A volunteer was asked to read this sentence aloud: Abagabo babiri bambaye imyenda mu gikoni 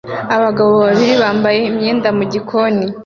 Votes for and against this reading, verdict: 2, 0, accepted